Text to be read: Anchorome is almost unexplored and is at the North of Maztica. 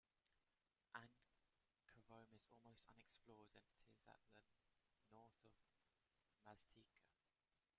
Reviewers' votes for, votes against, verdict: 0, 2, rejected